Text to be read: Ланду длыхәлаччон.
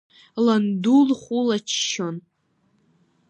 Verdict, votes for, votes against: rejected, 0, 2